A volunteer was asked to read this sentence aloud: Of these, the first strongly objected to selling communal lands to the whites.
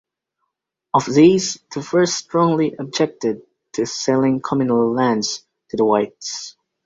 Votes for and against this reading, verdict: 2, 0, accepted